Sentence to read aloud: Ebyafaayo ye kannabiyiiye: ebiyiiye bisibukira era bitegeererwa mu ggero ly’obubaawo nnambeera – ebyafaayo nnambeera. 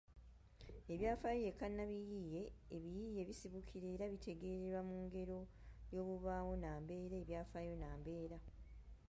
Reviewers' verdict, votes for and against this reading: accepted, 2, 0